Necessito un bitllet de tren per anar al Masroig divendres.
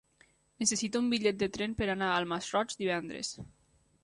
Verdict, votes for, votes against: accepted, 2, 0